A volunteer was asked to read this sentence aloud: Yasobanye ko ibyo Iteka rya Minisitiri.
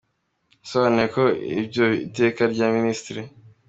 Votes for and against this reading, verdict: 2, 1, accepted